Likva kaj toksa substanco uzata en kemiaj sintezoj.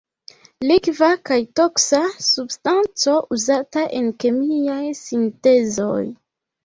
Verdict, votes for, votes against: accepted, 2, 0